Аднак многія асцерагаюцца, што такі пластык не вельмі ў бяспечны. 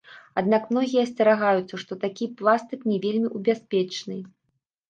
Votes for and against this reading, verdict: 1, 2, rejected